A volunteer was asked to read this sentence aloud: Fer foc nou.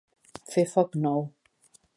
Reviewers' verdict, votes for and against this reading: accepted, 2, 0